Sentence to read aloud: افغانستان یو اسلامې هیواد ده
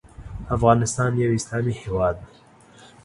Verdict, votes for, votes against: accepted, 2, 1